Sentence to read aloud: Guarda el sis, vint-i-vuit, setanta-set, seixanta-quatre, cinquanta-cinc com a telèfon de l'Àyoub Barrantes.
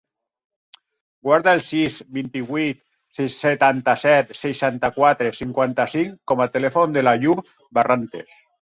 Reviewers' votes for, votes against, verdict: 1, 3, rejected